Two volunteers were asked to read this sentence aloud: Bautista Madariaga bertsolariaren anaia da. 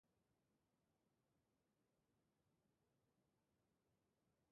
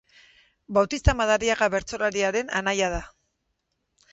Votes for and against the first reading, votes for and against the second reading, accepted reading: 0, 2, 4, 0, second